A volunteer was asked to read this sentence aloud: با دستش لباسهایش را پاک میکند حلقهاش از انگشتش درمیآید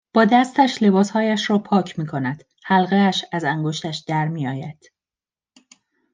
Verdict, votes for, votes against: accepted, 2, 0